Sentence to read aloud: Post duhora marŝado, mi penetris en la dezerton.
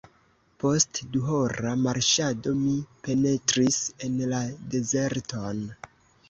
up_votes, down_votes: 1, 2